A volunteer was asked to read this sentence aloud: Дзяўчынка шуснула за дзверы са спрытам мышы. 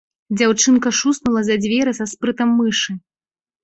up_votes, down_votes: 2, 0